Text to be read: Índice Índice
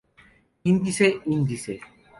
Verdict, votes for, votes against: accepted, 2, 0